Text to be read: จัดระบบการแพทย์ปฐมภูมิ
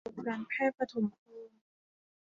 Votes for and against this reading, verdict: 0, 2, rejected